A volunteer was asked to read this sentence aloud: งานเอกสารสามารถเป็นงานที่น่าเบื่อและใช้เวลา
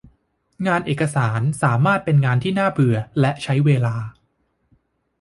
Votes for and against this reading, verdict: 2, 0, accepted